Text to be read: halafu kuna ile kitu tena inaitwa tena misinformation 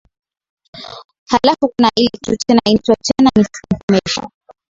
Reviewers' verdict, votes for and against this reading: rejected, 1, 2